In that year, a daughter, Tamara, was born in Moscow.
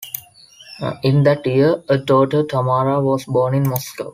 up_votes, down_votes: 2, 0